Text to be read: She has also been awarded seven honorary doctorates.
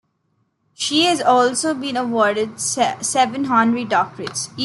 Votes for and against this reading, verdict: 0, 2, rejected